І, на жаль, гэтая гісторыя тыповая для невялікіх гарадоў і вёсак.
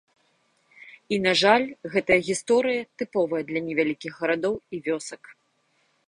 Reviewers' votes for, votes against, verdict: 2, 0, accepted